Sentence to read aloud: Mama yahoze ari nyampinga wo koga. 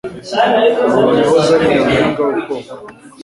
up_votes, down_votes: 1, 2